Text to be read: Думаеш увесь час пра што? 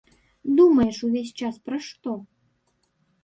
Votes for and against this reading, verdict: 0, 2, rejected